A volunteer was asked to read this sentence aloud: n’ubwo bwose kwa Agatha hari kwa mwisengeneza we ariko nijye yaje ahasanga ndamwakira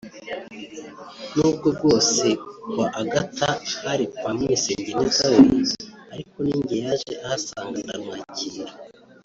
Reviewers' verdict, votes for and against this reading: rejected, 0, 2